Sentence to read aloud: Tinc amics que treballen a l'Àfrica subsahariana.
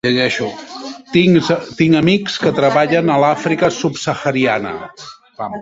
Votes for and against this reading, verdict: 1, 2, rejected